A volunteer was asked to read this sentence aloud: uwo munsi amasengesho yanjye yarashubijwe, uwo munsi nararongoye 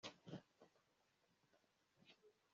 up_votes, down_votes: 0, 2